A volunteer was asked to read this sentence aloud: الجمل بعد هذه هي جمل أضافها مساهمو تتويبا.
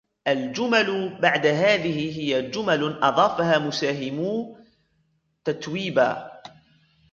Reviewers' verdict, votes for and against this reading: accepted, 2, 1